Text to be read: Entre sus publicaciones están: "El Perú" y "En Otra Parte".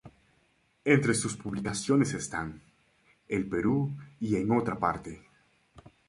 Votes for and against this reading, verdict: 2, 0, accepted